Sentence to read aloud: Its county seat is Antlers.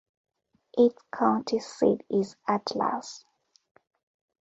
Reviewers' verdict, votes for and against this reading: rejected, 0, 2